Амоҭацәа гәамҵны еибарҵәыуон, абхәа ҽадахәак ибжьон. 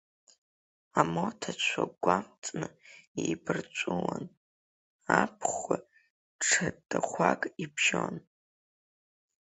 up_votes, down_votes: 2, 3